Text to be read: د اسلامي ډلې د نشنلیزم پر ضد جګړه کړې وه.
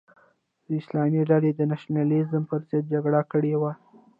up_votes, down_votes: 2, 0